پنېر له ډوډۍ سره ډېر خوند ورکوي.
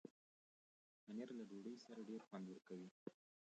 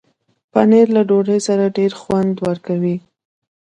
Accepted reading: second